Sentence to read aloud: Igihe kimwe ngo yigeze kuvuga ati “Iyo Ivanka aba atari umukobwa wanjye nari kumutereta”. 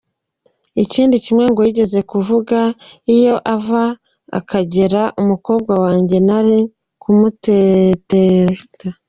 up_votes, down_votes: 1, 2